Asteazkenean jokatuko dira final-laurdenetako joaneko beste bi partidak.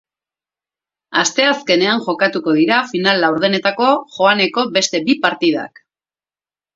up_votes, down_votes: 4, 0